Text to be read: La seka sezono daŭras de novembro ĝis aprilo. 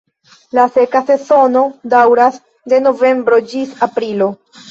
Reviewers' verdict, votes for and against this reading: rejected, 1, 2